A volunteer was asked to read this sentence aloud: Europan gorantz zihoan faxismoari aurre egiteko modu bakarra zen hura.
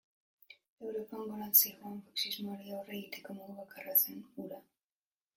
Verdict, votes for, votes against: rejected, 0, 2